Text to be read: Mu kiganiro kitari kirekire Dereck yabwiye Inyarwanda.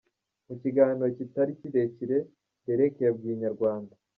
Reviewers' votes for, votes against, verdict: 0, 2, rejected